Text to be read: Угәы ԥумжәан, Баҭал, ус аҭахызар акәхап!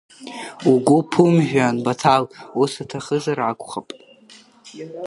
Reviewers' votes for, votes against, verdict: 0, 2, rejected